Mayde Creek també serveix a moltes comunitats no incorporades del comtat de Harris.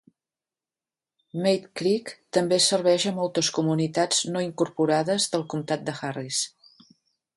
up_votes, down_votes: 2, 0